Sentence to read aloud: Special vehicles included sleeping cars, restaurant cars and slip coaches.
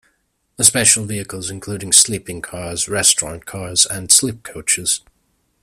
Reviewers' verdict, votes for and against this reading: rejected, 0, 2